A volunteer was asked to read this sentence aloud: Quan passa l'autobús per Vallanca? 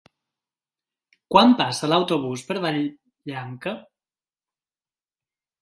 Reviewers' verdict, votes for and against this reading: rejected, 0, 2